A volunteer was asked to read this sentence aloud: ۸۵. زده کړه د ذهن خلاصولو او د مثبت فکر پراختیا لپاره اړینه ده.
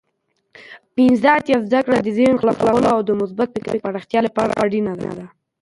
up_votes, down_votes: 0, 2